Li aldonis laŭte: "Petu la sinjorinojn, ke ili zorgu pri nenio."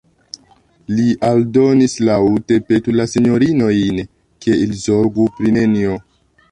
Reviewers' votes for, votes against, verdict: 2, 0, accepted